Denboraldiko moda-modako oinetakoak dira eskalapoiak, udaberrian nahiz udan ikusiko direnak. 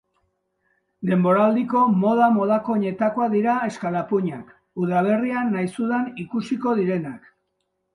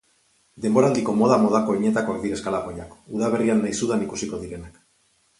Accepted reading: second